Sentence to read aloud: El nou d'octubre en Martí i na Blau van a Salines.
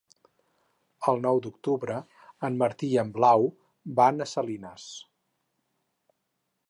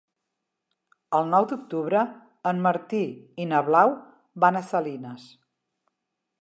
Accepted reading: second